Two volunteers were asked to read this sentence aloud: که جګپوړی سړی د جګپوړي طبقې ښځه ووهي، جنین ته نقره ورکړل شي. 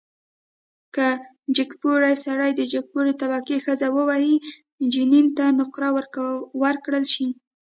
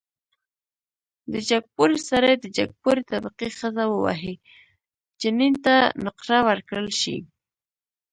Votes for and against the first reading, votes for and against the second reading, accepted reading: 3, 0, 1, 2, first